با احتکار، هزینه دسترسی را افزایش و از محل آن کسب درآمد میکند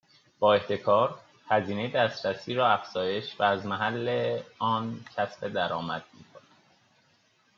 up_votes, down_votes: 2, 0